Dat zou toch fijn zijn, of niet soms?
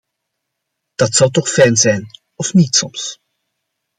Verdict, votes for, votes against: accepted, 2, 0